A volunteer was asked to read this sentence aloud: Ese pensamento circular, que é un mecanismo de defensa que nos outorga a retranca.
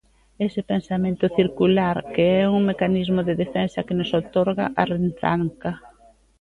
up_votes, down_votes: 1, 2